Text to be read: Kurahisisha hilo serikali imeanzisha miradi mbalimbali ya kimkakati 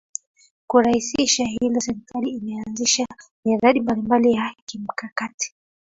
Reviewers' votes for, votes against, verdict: 3, 2, accepted